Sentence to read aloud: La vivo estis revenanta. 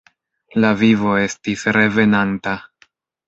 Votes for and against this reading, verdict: 2, 0, accepted